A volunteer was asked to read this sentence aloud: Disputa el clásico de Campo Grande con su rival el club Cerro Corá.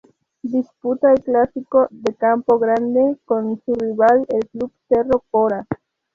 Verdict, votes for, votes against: rejected, 0, 2